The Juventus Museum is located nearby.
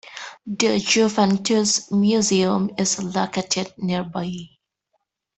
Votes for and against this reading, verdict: 0, 2, rejected